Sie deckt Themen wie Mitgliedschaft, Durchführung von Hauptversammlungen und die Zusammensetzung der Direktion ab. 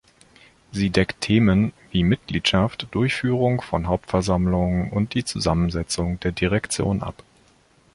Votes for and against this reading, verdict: 3, 0, accepted